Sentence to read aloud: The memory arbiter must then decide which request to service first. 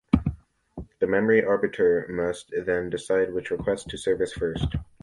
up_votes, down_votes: 2, 1